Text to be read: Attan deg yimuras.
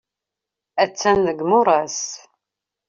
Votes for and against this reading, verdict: 2, 0, accepted